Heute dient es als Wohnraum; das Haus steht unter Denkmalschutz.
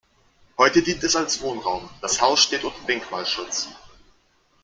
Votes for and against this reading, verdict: 0, 2, rejected